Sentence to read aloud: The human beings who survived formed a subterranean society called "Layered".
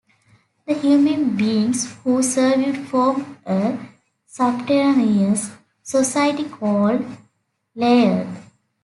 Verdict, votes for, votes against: rejected, 1, 3